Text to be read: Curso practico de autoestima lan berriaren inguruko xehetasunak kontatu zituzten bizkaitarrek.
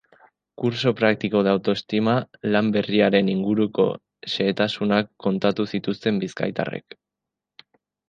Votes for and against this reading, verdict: 2, 0, accepted